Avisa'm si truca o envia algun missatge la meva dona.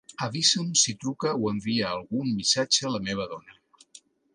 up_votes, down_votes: 2, 0